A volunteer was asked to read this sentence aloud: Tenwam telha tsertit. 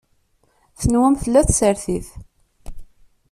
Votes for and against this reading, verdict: 0, 2, rejected